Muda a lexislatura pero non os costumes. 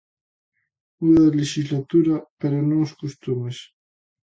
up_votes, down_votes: 2, 0